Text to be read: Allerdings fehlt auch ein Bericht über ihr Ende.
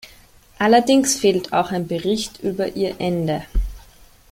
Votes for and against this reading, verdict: 2, 0, accepted